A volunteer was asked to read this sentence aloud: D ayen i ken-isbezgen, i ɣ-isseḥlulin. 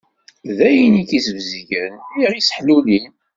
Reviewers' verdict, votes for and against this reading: accepted, 2, 0